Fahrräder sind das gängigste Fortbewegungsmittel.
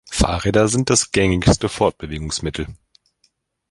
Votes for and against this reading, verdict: 2, 0, accepted